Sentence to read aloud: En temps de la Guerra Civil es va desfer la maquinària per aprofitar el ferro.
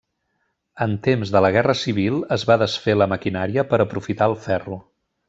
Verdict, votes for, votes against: accepted, 3, 0